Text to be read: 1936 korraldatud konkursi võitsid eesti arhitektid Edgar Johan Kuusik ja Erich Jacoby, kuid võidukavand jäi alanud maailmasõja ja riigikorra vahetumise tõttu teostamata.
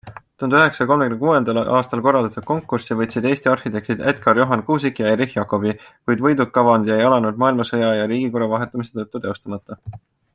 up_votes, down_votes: 0, 2